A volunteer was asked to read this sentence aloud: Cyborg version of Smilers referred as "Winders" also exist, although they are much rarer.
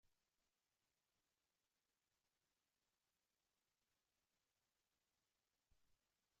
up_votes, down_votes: 1, 2